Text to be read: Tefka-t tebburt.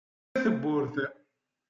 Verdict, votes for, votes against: rejected, 0, 2